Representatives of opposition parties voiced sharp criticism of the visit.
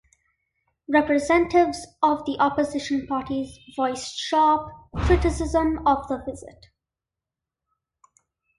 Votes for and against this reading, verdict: 2, 1, accepted